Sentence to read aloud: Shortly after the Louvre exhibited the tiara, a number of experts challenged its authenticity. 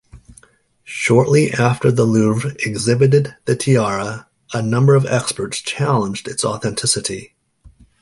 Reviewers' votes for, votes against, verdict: 2, 0, accepted